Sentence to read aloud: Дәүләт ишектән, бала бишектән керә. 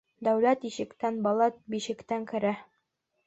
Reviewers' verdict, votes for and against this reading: accepted, 2, 0